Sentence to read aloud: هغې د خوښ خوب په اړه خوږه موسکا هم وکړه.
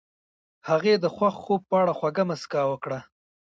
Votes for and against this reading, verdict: 0, 2, rejected